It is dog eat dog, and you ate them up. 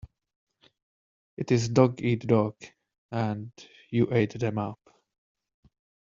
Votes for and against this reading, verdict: 2, 0, accepted